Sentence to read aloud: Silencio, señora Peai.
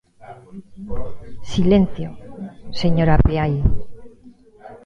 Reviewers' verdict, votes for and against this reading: rejected, 0, 2